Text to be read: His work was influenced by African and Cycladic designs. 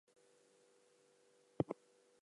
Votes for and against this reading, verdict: 0, 2, rejected